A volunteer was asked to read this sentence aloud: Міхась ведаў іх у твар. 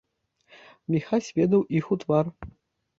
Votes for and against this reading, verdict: 2, 0, accepted